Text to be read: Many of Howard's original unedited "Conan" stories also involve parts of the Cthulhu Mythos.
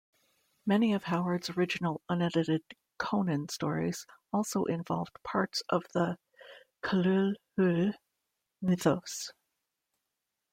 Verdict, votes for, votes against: rejected, 0, 2